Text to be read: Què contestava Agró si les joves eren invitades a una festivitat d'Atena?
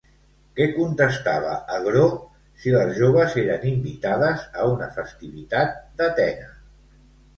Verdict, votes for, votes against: accepted, 2, 0